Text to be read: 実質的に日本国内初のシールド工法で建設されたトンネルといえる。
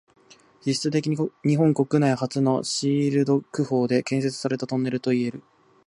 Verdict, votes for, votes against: rejected, 0, 2